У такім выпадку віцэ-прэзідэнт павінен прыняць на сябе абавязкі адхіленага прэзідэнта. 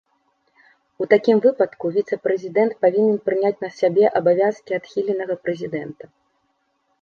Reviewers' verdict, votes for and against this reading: accepted, 2, 0